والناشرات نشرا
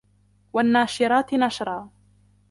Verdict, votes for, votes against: accepted, 2, 0